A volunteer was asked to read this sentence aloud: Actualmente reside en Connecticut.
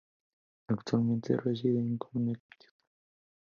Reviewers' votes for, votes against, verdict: 0, 2, rejected